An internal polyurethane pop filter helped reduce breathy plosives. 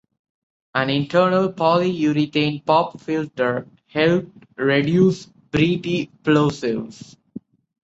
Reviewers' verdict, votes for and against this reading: accepted, 2, 0